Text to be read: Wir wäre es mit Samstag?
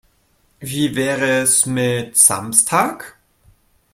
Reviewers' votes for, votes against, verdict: 2, 0, accepted